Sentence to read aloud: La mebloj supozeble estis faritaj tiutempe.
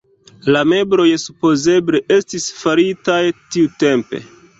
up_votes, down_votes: 1, 2